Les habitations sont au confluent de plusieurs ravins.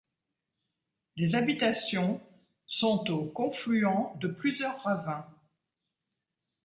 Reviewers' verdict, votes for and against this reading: accepted, 2, 0